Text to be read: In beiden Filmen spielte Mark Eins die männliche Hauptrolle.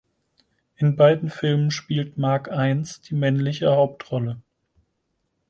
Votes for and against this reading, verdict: 2, 4, rejected